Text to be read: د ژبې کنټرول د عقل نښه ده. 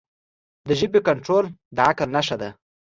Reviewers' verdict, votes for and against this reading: accepted, 2, 0